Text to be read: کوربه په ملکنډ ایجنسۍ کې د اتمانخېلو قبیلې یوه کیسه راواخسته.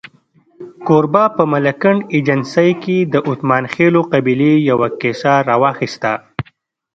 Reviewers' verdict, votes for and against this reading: accepted, 2, 0